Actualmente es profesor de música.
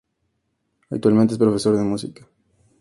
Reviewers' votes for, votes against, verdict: 0, 2, rejected